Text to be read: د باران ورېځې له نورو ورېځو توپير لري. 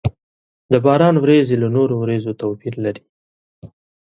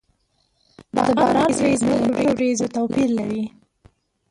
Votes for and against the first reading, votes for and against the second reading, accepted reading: 4, 0, 0, 2, first